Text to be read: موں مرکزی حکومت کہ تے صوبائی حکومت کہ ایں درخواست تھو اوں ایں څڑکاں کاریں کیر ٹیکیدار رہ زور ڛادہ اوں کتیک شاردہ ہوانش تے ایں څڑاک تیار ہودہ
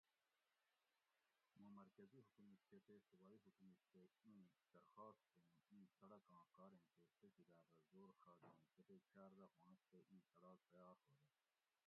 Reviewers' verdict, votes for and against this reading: rejected, 1, 2